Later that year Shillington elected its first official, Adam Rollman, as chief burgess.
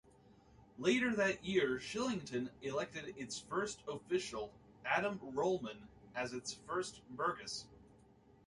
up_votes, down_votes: 0, 2